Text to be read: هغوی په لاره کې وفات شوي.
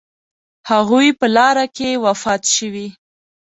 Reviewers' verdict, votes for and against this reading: accepted, 2, 0